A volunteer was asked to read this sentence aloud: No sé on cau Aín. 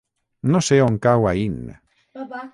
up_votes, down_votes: 9, 0